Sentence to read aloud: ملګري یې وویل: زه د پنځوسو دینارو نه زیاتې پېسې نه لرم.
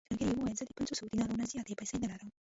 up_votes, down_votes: 0, 2